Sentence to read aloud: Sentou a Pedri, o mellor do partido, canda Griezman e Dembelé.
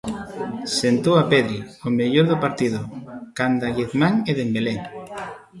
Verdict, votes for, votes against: rejected, 1, 2